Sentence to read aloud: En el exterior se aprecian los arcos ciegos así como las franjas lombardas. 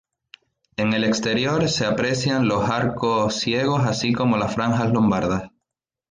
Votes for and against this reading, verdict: 0, 2, rejected